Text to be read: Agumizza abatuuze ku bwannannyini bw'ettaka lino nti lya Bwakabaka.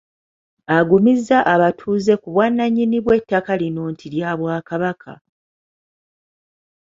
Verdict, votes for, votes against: accepted, 2, 0